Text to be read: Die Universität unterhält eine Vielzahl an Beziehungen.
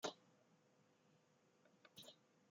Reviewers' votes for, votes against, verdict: 0, 2, rejected